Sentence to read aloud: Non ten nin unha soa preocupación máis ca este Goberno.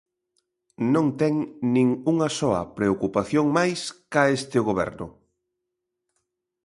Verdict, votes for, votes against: accepted, 3, 0